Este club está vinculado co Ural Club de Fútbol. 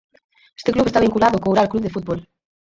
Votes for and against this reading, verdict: 2, 4, rejected